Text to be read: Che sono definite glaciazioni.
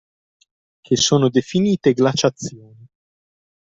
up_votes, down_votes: 0, 2